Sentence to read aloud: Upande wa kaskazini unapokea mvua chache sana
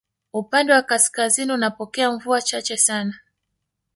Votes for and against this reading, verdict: 0, 2, rejected